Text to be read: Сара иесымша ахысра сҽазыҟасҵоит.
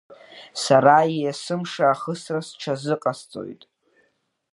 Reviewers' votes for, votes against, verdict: 2, 1, accepted